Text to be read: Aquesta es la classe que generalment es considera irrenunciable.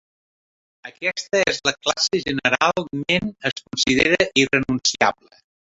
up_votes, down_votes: 0, 4